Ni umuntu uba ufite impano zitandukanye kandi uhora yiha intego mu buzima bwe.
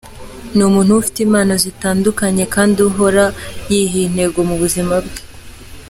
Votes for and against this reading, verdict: 2, 0, accepted